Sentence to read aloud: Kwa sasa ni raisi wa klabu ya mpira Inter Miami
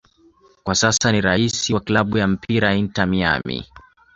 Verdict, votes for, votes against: accepted, 2, 1